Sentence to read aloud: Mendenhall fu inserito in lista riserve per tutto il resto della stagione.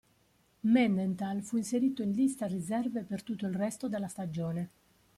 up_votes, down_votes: 0, 2